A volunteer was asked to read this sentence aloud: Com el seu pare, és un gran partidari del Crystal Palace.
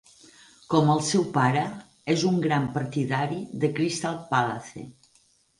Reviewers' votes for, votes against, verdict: 0, 4, rejected